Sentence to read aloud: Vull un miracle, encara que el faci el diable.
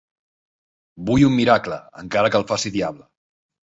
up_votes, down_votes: 0, 2